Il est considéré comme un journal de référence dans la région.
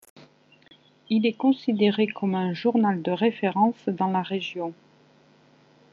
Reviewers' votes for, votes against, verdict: 1, 2, rejected